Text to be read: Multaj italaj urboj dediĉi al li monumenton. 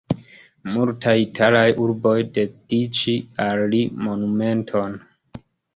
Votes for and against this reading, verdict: 2, 0, accepted